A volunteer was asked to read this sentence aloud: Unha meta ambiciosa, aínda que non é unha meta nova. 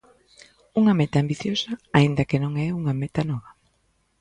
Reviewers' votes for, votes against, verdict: 2, 0, accepted